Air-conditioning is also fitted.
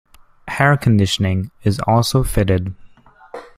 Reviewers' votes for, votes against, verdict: 1, 2, rejected